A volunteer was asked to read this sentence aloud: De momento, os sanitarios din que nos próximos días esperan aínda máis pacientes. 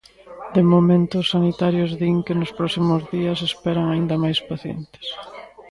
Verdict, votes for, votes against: accepted, 2, 1